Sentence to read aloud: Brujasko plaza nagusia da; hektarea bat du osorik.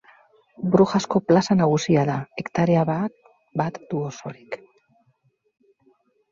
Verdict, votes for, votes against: rejected, 0, 2